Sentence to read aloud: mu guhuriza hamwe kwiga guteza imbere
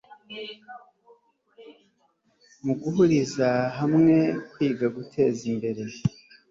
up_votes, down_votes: 2, 0